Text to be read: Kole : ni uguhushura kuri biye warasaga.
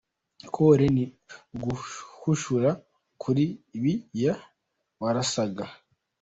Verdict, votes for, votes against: rejected, 0, 2